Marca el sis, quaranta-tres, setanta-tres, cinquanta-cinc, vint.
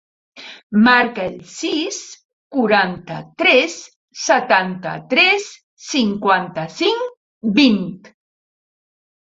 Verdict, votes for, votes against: accepted, 3, 0